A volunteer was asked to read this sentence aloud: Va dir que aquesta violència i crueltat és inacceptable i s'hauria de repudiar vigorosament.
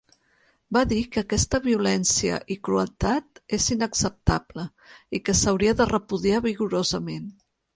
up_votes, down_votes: 1, 2